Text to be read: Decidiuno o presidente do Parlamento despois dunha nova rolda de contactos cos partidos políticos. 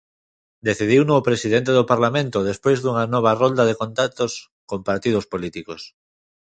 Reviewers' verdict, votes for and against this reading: rejected, 0, 2